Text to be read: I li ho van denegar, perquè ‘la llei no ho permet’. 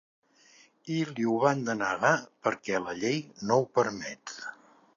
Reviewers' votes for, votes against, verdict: 2, 0, accepted